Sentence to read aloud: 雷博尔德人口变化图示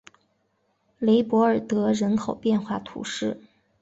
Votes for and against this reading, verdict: 2, 0, accepted